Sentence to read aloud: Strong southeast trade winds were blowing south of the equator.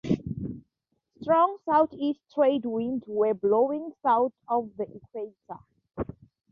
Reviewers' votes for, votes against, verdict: 2, 0, accepted